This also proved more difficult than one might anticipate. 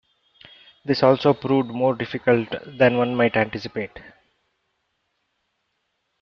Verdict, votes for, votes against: accepted, 2, 0